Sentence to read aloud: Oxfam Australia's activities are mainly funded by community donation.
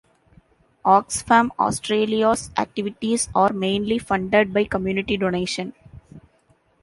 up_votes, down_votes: 2, 0